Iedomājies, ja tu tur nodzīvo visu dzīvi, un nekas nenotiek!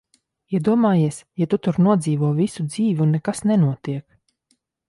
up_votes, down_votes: 4, 0